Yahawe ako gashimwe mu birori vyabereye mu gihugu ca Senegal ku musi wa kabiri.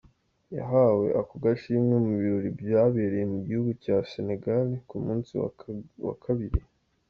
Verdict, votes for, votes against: accepted, 2, 1